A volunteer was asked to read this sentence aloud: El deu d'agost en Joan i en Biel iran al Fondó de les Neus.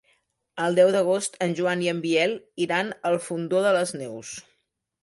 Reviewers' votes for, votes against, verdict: 2, 0, accepted